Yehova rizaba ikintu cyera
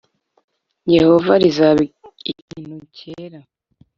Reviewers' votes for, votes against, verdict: 0, 2, rejected